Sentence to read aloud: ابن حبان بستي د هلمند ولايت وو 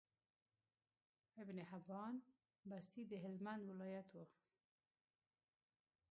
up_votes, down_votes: 0, 2